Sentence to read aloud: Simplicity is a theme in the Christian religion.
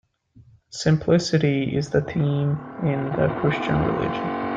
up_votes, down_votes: 1, 2